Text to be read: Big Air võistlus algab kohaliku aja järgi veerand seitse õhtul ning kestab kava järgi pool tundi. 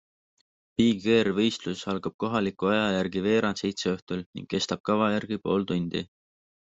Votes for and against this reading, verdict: 2, 0, accepted